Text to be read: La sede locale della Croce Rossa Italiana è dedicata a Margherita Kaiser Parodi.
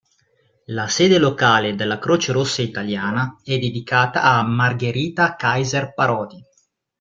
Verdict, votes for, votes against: accepted, 2, 0